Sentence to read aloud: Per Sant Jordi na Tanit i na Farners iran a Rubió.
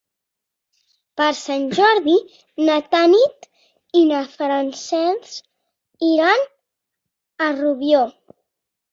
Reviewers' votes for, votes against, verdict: 0, 4, rejected